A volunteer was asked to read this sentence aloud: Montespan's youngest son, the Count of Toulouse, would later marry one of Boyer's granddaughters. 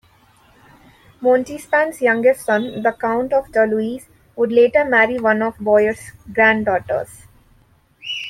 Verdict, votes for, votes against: rejected, 0, 2